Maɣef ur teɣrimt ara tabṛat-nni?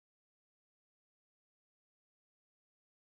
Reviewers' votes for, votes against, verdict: 1, 2, rejected